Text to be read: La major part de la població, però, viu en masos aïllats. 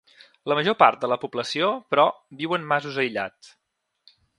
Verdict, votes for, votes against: accepted, 2, 0